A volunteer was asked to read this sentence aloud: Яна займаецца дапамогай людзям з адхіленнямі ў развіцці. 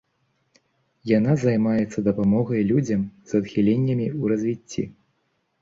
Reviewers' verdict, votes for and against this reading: accepted, 2, 0